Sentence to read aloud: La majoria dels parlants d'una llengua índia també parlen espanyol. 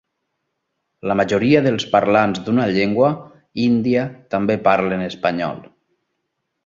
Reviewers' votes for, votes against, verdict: 2, 0, accepted